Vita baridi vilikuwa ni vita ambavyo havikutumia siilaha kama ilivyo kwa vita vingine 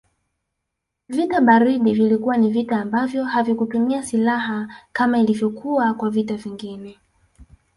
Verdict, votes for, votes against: accepted, 2, 1